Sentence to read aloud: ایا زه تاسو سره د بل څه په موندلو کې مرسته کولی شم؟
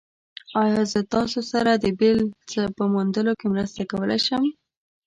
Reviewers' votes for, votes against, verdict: 0, 2, rejected